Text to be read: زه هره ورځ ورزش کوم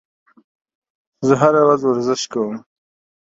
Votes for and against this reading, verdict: 2, 0, accepted